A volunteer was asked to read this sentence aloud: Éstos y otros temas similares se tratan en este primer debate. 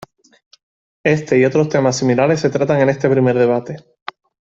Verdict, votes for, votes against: rejected, 1, 2